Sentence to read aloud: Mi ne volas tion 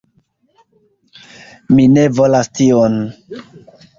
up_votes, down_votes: 1, 2